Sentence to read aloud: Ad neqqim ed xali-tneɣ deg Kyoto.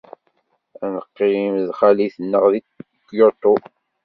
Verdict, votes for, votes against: rejected, 1, 2